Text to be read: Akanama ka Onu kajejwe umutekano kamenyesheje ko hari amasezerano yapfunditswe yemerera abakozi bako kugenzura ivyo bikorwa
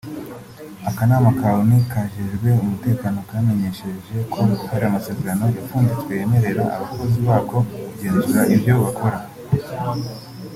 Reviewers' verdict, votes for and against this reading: accepted, 2, 0